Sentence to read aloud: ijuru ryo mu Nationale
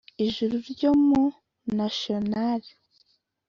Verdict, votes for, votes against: accepted, 2, 0